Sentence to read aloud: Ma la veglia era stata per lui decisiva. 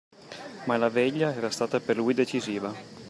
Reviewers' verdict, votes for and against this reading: accepted, 2, 0